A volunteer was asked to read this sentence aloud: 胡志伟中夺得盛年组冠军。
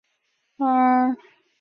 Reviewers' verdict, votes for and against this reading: rejected, 0, 2